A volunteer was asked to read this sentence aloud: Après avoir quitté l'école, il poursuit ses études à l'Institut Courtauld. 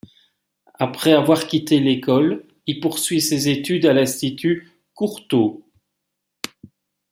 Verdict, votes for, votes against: accepted, 2, 0